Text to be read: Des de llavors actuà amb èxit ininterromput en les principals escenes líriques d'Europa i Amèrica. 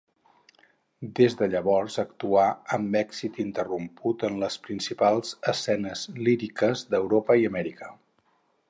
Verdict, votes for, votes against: rejected, 2, 2